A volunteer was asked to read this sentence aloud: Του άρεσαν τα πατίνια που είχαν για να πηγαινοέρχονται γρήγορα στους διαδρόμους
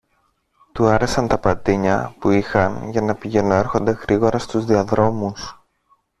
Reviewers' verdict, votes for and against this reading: accepted, 2, 1